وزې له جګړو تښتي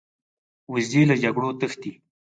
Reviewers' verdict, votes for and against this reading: rejected, 2, 4